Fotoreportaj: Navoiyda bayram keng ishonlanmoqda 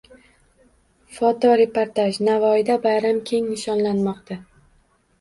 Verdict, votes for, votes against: accepted, 2, 0